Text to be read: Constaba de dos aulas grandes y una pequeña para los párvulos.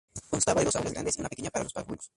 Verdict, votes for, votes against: rejected, 0, 2